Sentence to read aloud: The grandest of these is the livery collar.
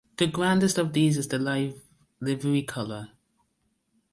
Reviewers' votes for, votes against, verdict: 1, 2, rejected